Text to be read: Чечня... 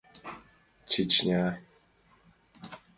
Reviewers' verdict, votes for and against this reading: accepted, 2, 0